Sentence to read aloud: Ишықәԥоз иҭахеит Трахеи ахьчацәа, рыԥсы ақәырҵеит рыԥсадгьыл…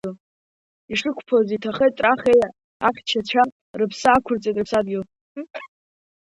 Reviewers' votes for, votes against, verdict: 0, 2, rejected